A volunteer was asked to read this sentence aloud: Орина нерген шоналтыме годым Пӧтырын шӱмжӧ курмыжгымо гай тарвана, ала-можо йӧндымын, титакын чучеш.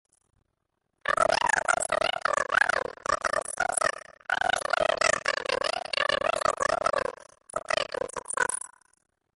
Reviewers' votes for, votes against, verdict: 0, 2, rejected